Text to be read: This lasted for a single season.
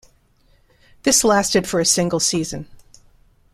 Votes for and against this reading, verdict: 2, 0, accepted